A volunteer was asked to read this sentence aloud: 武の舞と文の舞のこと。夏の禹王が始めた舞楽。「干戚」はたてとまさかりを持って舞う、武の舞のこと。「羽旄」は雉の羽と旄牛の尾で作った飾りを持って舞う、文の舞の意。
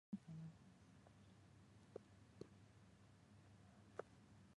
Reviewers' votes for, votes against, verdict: 0, 2, rejected